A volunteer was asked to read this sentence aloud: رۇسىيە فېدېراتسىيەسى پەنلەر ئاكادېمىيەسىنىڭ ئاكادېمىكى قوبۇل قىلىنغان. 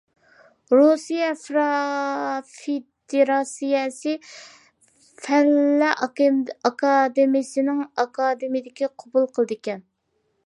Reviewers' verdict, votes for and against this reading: rejected, 0, 2